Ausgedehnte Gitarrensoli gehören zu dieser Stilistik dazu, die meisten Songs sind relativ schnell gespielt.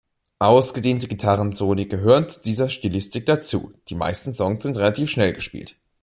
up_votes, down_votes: 2, 0